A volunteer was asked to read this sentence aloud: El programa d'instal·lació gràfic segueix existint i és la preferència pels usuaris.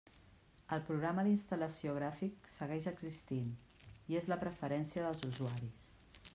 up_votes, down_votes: 1, 2